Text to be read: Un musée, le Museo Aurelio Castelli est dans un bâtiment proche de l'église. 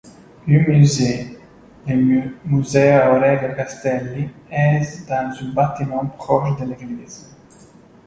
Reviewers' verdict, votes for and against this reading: rejected, 1, 2